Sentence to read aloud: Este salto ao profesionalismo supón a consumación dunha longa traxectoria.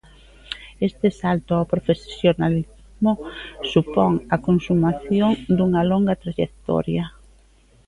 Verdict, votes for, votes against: rejected, 0, 3